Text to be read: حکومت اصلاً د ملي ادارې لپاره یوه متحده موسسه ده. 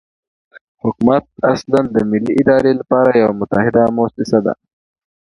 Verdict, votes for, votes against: accepted, 2, 0